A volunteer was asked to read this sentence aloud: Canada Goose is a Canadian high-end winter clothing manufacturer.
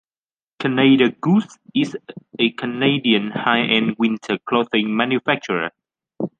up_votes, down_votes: 2, 0